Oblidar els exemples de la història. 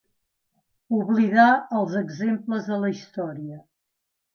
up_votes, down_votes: 2, 0